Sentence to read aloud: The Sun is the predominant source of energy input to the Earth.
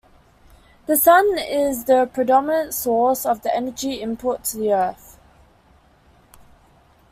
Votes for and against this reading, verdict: 2, 0, accepted